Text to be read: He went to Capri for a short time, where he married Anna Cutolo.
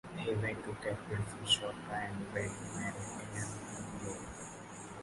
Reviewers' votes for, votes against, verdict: 0, 2, rejected